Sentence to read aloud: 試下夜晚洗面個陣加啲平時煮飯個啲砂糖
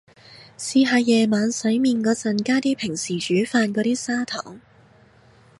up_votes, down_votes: 2, 0